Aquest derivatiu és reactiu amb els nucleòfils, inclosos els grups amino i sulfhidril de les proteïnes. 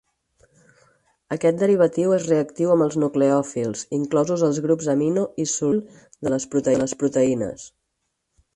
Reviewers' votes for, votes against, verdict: 0, 4, rejected